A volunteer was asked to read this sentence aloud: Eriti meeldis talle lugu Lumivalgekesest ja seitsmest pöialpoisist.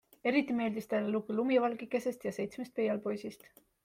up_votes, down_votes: 3, 0